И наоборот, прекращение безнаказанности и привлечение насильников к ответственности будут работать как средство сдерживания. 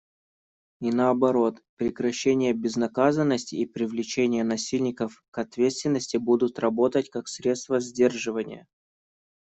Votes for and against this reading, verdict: 2, 0, accepted